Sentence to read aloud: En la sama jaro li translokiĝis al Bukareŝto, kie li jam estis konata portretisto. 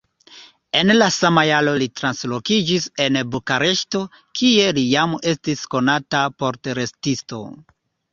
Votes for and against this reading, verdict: 2, 0, accepted